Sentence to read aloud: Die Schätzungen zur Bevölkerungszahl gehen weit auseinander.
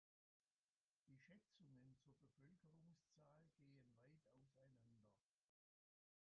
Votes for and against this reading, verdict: 0, 2, rejected